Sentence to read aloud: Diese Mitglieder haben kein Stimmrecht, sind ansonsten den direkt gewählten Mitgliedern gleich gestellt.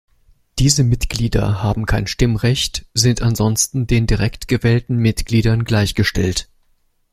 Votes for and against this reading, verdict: 2, 0, accepted